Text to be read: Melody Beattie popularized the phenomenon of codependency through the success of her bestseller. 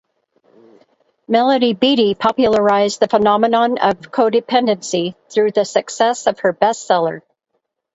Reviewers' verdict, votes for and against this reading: rejected, 2, 2